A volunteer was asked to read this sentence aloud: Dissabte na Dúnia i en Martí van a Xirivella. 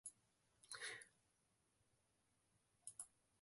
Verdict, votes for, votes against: rejected, 0, 2